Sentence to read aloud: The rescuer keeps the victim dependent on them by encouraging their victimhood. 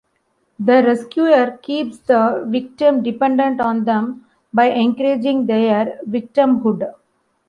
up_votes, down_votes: 2, 0